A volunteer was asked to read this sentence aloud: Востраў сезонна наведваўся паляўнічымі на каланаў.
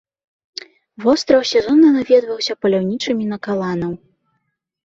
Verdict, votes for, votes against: rejected, 0, 2